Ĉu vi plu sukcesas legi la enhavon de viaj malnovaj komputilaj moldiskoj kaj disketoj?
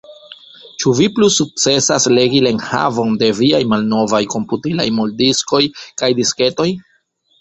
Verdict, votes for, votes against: rejected, 1, 2